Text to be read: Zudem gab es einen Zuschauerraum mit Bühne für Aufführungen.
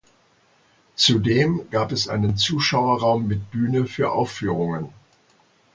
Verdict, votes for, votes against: accepted, 2, 0